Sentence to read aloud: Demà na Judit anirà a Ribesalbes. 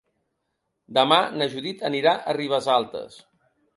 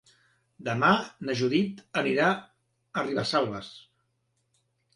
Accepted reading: second